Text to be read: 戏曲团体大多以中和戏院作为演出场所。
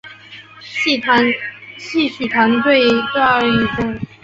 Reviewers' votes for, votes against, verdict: 2, 6, rejected